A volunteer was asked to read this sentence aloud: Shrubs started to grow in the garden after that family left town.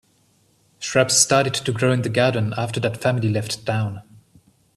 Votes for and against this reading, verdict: 2, 0, accepted